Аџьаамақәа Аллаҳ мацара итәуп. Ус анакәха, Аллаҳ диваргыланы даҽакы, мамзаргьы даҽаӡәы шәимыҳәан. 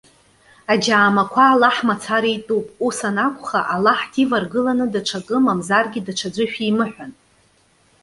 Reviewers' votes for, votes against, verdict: 2, 0, accepted